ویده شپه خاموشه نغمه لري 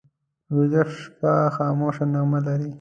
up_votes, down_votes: 2, 0